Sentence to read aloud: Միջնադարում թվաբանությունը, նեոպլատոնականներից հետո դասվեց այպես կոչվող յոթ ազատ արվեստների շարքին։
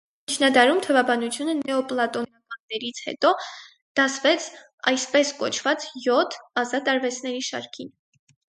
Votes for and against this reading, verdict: 2, 4, rejected